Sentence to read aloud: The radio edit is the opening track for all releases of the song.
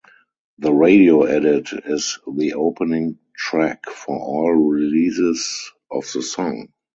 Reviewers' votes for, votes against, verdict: 4, 0, accepted